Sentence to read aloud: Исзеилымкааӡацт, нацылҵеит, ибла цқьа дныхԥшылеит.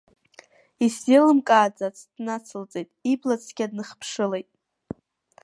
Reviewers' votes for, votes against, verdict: 2, 0, accepted